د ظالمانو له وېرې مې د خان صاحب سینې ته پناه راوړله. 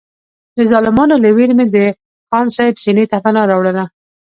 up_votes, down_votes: 0, 2